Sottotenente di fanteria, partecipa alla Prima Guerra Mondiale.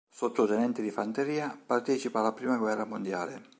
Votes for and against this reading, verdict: 3, 0, accepted